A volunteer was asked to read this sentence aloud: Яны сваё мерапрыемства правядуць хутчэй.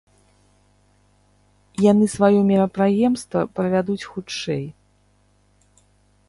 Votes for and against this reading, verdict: 0, 2, rejected